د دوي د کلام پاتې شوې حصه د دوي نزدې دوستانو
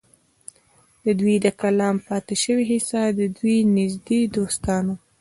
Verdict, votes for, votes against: rejected, 1, 2